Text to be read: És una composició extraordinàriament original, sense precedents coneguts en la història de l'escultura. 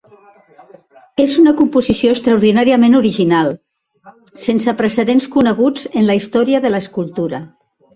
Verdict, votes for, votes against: rejected, 1, 2